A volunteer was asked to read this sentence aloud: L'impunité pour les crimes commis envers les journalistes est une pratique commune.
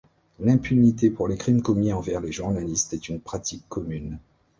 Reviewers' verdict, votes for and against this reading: rejected, 1, 2